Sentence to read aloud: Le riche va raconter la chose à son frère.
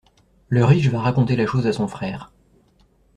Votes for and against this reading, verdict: 1, 2, rejected